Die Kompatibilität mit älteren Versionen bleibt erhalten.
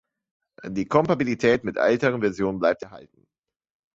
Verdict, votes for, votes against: rejected, 1, 2